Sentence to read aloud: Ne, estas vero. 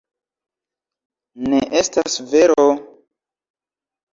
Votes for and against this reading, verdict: 0, 2, rejected